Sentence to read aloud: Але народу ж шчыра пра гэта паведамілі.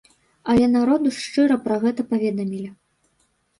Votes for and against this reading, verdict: 2, 0, accepted